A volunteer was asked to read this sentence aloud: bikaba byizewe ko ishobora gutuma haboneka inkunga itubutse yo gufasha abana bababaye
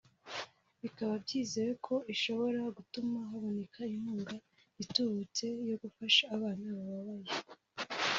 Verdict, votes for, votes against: rejected, 0, 2